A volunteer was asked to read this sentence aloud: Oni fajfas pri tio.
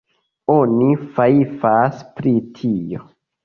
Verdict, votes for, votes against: rejected, 0, 2